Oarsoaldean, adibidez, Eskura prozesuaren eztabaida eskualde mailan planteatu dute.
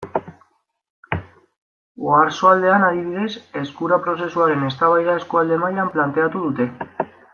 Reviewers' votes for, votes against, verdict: 2, 1, accepted